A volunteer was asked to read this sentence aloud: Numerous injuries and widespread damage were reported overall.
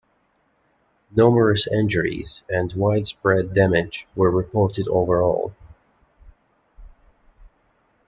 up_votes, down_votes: 2, 0